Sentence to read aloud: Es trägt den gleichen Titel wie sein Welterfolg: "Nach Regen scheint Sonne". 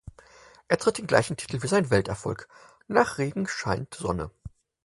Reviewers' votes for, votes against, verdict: 4, 2, accepted